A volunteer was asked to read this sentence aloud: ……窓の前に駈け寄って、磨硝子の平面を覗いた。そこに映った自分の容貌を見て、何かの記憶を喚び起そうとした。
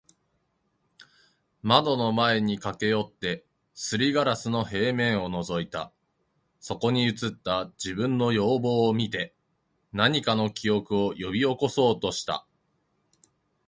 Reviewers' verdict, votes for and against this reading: accepted, 2, 0